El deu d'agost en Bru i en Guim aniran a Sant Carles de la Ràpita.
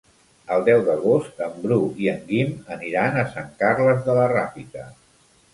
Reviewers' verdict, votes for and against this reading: accepted, 4, 0